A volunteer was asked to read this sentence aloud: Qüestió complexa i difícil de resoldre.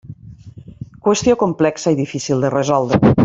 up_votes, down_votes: 3, 0